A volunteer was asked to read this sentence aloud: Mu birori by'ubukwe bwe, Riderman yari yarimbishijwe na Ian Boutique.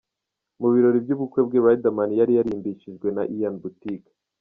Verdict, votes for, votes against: rejected, 0, 2